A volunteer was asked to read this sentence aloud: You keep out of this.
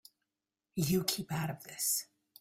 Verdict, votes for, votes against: accepted, 2, 0